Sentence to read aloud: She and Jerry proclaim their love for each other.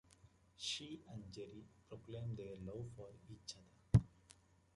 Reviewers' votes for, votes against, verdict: 2, 0, accepted